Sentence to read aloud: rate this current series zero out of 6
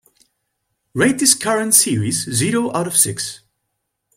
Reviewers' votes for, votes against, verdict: 0, 2, rejected